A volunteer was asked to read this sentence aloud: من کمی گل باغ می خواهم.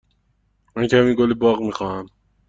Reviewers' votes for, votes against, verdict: 2, 0, accepted